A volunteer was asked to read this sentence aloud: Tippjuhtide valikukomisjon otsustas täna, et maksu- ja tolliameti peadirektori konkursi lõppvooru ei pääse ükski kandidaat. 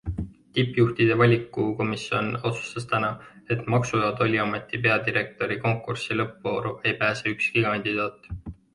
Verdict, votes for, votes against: accepted, 2, 0